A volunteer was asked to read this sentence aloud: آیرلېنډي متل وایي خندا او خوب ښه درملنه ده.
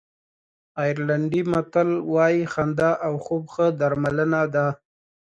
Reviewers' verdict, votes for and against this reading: accepted, 2, 0